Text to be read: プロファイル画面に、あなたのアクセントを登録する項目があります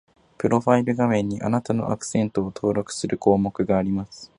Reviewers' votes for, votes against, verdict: 4, 0, accepted